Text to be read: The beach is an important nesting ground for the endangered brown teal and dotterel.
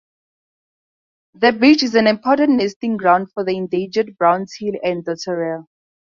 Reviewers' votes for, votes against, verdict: 2, 0, accepted